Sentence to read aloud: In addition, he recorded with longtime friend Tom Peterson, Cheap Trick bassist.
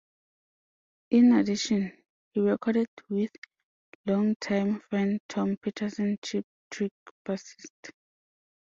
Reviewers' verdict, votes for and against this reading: accepted, 2, 1